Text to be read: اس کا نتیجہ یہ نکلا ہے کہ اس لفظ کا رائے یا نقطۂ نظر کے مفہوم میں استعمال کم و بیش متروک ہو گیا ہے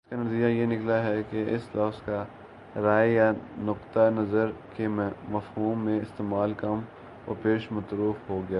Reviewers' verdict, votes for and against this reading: rejected, 0, 2